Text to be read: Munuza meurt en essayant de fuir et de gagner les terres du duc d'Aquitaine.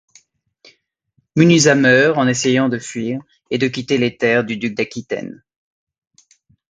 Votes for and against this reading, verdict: 1, 2, rejected